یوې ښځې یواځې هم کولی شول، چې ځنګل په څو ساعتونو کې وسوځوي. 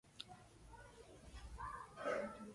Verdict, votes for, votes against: rejected, 0, 2